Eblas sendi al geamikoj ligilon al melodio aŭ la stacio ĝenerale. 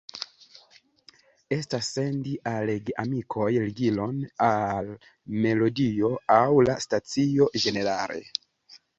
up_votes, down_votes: 2, 3